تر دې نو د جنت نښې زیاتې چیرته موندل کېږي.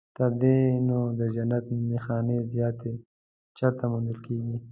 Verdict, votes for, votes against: rejected, 1, 2